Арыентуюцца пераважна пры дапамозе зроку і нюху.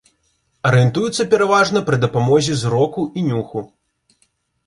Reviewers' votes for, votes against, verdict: 2, 0, accepted